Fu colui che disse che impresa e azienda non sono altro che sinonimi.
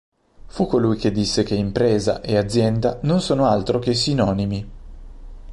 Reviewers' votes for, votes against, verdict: 2, 0, accepted